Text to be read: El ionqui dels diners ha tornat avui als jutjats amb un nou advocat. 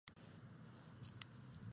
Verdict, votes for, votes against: rejected, 0, 4